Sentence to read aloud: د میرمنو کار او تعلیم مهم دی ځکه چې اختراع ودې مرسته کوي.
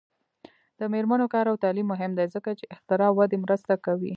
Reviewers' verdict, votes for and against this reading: accepted, 2, 1